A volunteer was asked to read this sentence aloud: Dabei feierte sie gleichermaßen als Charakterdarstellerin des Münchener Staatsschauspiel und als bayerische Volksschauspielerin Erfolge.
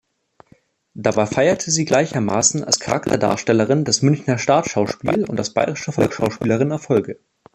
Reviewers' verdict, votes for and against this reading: rejected, 0, 2